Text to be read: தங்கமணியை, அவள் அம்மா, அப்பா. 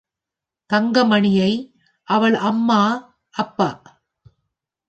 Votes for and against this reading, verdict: 3, 0, accepted